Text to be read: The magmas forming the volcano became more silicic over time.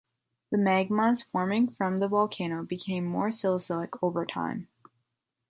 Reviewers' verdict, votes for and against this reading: rejected, 0, 2